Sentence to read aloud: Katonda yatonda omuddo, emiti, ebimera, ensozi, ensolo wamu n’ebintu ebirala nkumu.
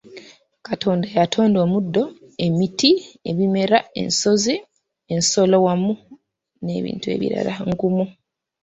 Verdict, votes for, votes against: rejected, 1, 2